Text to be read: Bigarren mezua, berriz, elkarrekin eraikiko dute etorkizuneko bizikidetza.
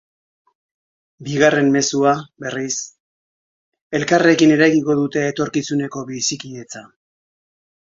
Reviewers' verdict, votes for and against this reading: accepted, 2, 0